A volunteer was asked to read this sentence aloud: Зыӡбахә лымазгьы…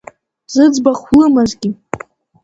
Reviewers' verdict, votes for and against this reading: accepted, 2, 0